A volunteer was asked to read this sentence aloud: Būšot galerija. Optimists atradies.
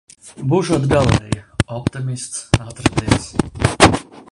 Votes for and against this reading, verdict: 1, 2, rejected